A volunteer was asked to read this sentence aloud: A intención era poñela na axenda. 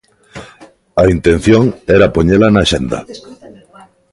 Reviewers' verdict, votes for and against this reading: accepted, 2, 1